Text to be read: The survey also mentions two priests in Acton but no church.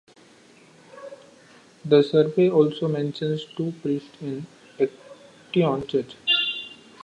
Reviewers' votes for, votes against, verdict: 0, 2, rejected